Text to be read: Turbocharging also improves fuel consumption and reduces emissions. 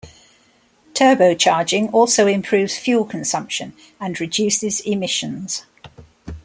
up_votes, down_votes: 2, 0